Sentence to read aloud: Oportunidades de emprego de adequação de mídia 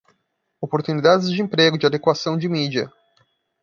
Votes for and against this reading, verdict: 2, 0, accepted